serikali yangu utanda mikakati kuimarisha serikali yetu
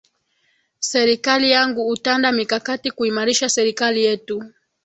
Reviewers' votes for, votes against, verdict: 2, 0, accepted